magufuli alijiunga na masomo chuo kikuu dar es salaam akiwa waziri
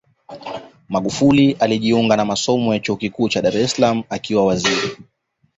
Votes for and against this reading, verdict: 2, 0, accepted